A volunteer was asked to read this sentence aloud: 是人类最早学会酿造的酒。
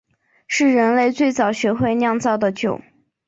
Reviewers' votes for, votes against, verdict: 2, 0, accepted